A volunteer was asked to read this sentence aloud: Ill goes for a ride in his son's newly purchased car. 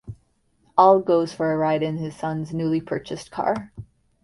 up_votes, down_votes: 2, 0